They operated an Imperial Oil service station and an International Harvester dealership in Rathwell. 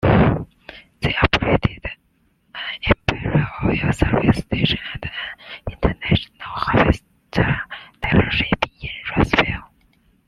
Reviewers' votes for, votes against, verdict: 0, 2, rejected